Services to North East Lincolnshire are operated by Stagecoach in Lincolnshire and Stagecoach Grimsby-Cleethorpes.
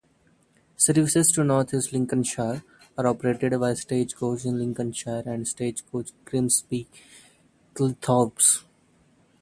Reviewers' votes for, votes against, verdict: 2, 0, accepted